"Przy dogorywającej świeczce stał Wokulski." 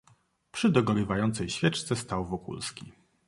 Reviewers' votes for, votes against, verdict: 2, 0, accepted